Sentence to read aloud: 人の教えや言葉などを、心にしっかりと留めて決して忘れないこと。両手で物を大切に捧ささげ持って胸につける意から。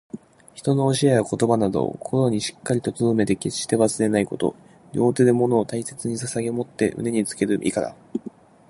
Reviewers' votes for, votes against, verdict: 2, 0, accepted